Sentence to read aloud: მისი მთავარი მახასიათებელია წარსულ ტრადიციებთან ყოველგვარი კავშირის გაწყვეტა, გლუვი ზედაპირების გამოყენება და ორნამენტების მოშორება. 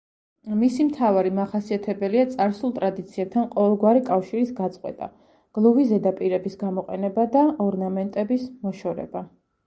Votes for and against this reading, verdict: 2, 0, accepted